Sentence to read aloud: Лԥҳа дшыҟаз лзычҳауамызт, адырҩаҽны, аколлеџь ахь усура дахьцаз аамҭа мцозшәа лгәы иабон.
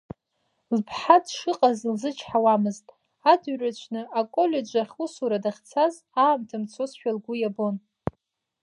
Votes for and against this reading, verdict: 2, 0, accepted